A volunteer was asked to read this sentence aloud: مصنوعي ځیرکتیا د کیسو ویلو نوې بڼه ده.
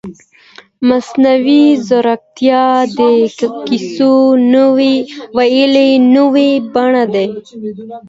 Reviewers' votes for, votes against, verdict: 2, 0, accepted